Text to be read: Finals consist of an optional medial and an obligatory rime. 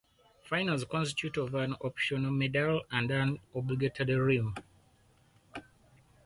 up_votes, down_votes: 0, 4